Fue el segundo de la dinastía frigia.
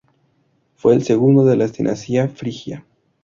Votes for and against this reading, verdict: 0, 2, rejected